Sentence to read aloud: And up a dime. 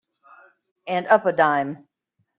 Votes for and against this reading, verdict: 2, 0, accepted